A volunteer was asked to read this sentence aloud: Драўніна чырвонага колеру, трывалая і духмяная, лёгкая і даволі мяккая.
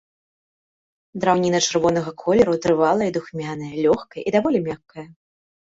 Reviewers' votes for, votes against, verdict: 2, 0, accepted